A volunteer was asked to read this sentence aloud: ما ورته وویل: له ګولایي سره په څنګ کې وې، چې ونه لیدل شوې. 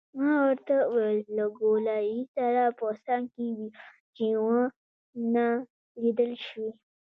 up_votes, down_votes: 1, 2